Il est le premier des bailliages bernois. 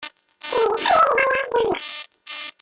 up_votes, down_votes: 0, 2